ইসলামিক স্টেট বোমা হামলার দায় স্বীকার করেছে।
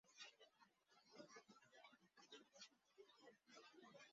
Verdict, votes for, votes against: rejected, 1, 6